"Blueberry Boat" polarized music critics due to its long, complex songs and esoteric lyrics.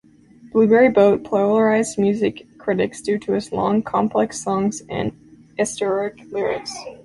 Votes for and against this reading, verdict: 0, 2, rejected